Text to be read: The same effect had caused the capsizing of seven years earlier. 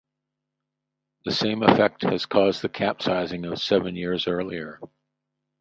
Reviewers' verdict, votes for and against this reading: rejected, 0, 4